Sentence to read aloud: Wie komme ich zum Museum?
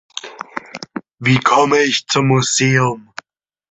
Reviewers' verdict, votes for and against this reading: accepted, 2, 0